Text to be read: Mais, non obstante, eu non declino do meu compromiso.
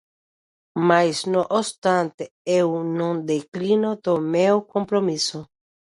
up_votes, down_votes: 0, 2